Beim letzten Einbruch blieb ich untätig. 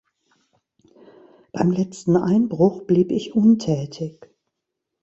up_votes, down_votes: 2, 0